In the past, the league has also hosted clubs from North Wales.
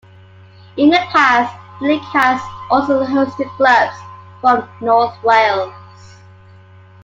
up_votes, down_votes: 2, 1